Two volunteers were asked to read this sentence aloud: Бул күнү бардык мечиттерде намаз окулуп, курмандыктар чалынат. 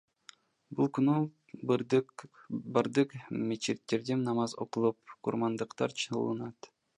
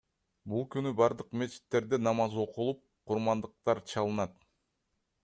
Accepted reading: second